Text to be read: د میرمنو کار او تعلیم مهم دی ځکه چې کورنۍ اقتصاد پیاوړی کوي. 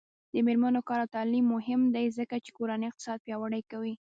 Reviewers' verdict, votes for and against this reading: rejected, 1, 2